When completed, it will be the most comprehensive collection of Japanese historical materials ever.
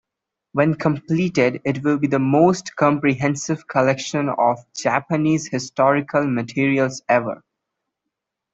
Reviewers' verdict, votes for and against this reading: accepted, 2, 0